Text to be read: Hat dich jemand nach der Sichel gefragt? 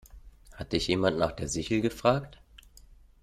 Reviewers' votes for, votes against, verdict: 2, 0, accepted